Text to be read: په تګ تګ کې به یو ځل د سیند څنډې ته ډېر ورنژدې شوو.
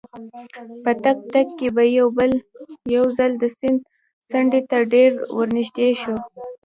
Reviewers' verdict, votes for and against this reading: rejected, 0, 2